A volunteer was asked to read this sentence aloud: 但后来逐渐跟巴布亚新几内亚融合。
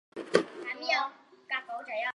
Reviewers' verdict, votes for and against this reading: rejected, 0, 2